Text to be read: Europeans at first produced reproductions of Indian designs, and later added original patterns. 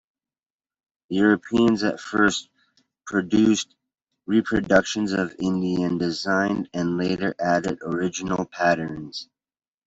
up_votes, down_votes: 1, 2